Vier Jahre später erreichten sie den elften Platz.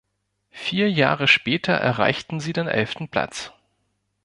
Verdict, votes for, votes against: accepted, 2, 0